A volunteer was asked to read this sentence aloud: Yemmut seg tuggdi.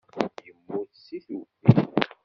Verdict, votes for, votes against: rejected, 1, 2